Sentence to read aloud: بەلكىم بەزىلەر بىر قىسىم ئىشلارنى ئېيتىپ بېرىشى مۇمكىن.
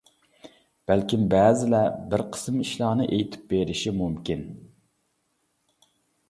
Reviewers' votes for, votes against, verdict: 2, 0, accepted